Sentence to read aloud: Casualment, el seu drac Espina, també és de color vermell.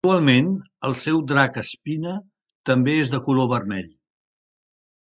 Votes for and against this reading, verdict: 0, 2, rejected